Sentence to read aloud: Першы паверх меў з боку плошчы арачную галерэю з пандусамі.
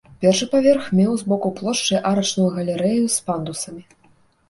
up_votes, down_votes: 2, 0